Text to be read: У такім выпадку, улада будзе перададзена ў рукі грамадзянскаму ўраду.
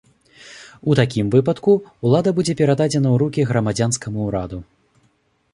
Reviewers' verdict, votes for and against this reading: accepted, 2, 0